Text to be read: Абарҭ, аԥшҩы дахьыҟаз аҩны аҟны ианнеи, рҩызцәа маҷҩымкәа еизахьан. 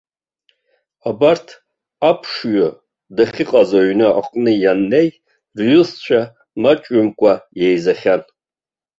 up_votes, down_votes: 0, 2